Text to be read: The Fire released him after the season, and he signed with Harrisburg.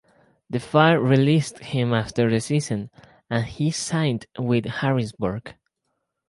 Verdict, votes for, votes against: accepted, 4, 0